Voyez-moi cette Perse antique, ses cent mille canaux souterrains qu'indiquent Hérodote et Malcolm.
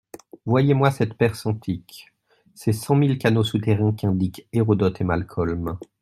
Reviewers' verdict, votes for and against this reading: accepted, 2, 0